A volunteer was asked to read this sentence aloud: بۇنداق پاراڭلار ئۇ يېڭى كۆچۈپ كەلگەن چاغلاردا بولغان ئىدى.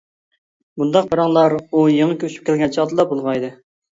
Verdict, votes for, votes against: rejected, 0, 2